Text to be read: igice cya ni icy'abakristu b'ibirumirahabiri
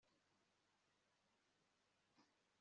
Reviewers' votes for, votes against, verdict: 2, 3, rejected